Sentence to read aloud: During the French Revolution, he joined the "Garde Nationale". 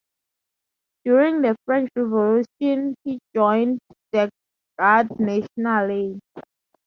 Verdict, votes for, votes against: accepted, 4, 0